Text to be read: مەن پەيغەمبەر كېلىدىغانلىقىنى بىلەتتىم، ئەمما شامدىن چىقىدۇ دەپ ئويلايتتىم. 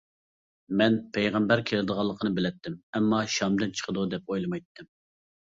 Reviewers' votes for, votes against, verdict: 0, 2, rejected